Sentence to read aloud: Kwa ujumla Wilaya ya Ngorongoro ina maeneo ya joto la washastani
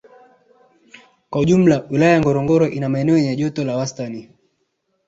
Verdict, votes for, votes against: rejected, 1, 2